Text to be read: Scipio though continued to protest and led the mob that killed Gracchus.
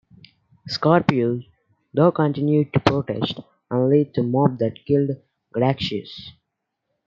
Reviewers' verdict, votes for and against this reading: rejected, 1, 2